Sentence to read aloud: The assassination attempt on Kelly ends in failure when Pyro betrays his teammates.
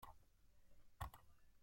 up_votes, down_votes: 0, 2